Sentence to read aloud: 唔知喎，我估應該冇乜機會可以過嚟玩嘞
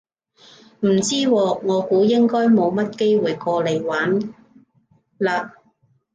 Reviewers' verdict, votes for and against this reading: rejected, 0, 2